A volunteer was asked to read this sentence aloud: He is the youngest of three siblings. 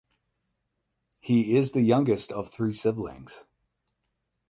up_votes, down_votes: 8, 0